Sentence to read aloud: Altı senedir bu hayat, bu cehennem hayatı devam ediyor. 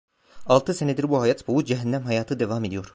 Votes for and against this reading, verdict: 1, 2, rejected